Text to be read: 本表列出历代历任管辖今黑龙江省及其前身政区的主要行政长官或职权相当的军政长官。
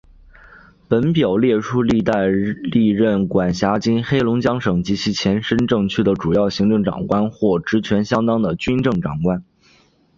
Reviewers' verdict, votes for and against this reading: accepted, 2, 0